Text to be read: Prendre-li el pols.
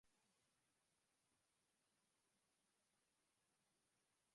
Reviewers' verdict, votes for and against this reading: rejected, 0, 2